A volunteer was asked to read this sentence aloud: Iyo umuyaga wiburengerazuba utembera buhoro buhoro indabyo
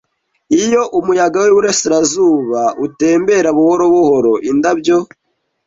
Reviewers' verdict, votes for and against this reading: rejected, 0, 2